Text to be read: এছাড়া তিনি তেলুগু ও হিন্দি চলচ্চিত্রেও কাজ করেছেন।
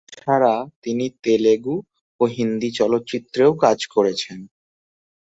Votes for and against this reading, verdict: 0, 2, rejected